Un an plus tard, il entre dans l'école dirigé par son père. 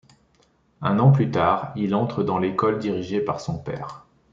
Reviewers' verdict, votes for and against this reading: accepted, 2, 0